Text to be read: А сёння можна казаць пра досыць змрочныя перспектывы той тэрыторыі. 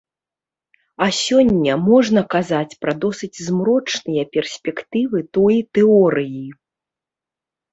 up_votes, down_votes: 0, 2